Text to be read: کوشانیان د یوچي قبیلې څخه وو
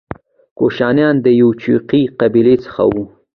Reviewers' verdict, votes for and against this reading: accepted, 2, 0